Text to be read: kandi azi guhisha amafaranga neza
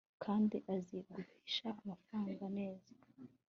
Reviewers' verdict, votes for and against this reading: accepted, 2, 1